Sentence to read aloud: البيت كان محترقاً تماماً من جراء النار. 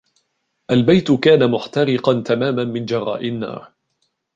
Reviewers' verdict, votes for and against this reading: rejected, 0, 2